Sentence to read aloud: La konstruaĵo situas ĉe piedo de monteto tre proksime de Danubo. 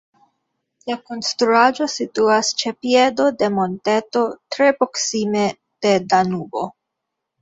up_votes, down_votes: 2, 1